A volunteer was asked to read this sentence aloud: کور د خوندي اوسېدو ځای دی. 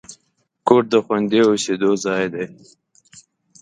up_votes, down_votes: 7, 0